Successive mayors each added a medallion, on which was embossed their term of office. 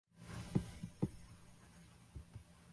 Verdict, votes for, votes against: rejected, 0, 2